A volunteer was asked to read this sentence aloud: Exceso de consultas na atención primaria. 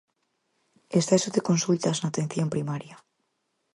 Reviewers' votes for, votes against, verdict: 4, 0, accepted